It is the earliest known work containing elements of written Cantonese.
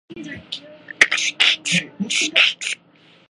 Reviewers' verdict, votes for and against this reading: rejected, 0, 2